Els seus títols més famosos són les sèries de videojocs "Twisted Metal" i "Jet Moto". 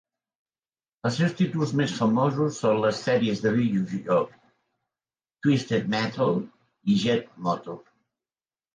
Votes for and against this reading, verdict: 2, 1, accepted